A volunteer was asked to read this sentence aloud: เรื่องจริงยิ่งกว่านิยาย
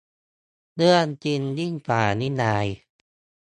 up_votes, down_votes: 2, 1